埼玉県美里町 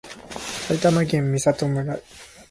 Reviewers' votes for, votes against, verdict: 1, 2, rejected